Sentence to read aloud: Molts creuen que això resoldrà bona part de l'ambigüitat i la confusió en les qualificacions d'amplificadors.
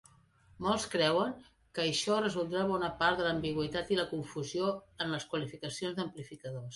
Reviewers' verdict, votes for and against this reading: accepted, 2, 0